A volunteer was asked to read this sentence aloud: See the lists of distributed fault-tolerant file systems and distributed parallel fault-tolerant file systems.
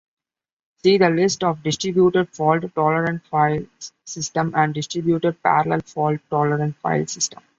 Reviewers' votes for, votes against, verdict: 1, 2, rejected